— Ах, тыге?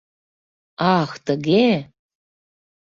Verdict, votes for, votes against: accepted, 2, 0